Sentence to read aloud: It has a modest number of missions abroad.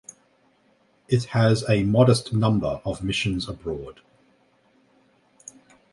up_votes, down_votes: 0, 2